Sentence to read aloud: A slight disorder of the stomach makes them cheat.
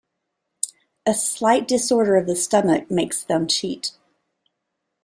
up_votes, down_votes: 2, 0